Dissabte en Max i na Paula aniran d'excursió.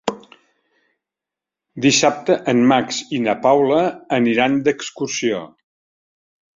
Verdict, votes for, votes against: accepted, 3, 0